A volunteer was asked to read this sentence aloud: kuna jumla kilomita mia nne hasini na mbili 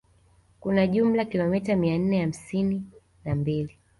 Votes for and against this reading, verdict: 2, 0, accepted